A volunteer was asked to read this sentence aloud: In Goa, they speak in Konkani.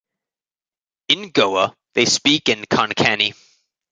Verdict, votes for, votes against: rejected, 1, 2